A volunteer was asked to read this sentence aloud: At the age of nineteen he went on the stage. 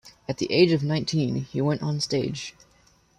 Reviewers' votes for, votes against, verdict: 2, 1, accepted